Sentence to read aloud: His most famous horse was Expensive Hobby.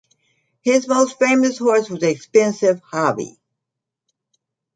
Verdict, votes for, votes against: accepted, 3, 1